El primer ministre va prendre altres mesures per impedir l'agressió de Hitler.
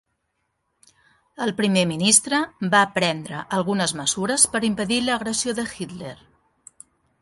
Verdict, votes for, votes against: rejected, 0, 2